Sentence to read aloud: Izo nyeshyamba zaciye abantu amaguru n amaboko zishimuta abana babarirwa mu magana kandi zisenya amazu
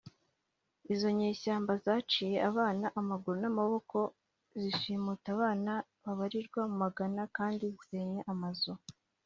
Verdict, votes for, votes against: accepted, 2, 0